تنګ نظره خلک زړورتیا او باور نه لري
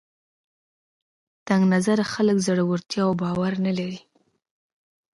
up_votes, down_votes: 2, 0